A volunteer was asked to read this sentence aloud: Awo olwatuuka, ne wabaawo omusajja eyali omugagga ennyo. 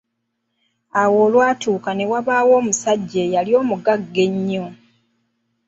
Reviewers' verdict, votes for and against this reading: accepted, 2, 0